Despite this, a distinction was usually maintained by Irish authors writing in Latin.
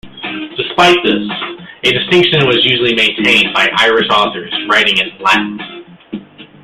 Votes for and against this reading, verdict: 1, 2, rejected